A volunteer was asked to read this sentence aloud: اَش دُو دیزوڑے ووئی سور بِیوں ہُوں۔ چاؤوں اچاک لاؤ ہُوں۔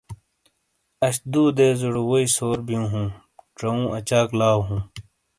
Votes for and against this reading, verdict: 2, 0, accepted